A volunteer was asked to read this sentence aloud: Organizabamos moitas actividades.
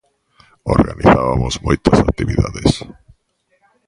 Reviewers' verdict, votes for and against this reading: rejected, 1, 2